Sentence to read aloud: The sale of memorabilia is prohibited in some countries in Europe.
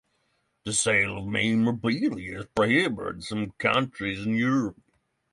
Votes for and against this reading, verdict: 3, 0, accepted